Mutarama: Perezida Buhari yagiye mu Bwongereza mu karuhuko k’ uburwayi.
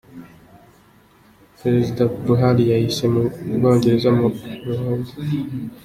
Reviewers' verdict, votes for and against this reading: rejected, 0, 2